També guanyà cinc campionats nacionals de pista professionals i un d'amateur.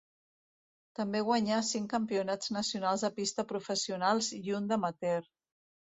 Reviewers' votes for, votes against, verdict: 2, 0, accepted